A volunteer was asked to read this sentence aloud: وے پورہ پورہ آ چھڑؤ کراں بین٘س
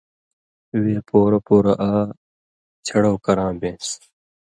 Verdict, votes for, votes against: accepted, 2, 0